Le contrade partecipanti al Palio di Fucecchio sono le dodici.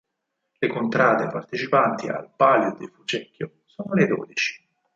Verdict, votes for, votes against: rejected, 2, 4